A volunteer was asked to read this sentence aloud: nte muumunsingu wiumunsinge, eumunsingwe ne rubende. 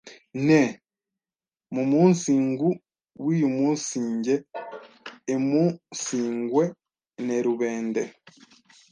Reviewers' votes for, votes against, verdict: 1, 2, rejected